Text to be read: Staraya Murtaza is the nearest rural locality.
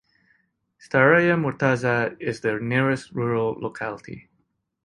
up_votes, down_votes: 2, 0